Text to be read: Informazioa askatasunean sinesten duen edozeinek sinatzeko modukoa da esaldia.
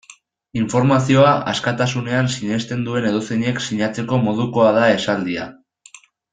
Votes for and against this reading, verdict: 2, 0, accepted